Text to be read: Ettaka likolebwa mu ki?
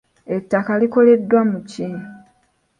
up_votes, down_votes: 0, 2